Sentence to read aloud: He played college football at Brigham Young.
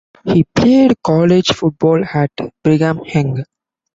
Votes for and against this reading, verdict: 0, 2, rejected